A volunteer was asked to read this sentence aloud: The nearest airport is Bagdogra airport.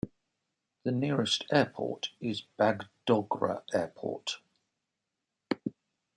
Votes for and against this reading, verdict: 2, 0, accepted